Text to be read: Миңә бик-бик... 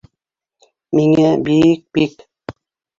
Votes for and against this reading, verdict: 1, 2, rejected